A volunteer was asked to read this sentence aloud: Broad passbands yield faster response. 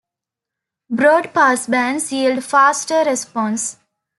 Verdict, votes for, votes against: accepted, 2, 0